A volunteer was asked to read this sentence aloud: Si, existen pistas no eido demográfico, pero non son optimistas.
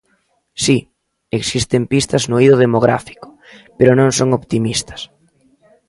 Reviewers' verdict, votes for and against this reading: accepted, 2, 0